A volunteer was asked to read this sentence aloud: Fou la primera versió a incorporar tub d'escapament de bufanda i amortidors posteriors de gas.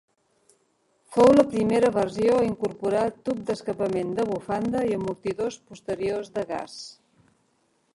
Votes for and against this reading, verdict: 0, 2, rejected